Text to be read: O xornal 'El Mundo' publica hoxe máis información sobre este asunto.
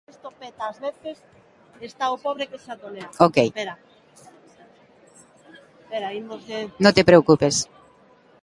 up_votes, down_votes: 0, 2